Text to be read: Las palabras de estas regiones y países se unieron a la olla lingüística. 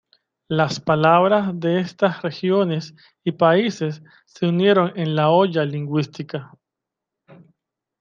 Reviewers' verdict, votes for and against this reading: rejected, 0, 2